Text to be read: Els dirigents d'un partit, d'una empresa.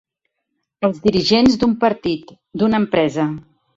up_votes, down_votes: 3, 0